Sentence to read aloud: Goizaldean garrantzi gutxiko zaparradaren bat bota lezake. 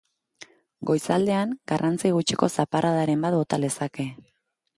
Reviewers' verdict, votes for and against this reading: accepted, 2, 1